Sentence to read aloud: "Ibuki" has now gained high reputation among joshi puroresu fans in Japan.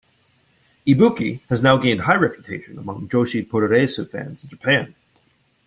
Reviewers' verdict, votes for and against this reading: rejected, 1, 2